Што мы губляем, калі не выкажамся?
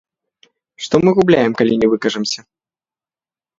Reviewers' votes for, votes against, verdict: 2, 0, accepted